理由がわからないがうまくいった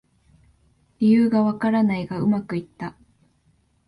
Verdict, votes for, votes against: accepted, 2, 0